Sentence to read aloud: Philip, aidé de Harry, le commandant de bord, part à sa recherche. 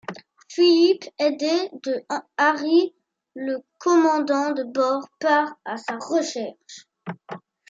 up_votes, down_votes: 2, 0